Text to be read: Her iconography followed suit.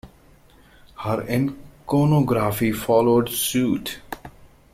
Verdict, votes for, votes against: rejected, 0, 2